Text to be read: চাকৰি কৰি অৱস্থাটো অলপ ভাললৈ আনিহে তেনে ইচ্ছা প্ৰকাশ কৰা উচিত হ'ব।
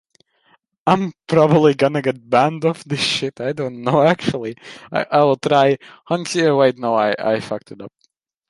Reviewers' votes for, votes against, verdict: 0, 2, rejected